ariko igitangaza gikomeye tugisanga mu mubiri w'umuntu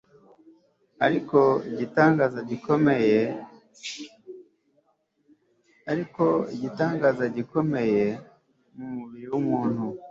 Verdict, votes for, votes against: rejected, 1, 2